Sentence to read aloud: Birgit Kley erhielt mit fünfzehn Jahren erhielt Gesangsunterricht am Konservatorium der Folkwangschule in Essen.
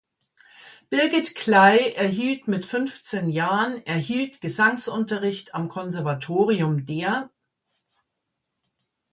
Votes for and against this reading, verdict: 0, 2, rejected